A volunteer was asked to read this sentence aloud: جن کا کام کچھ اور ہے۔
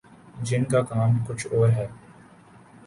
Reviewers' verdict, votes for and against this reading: accepted, 2, 0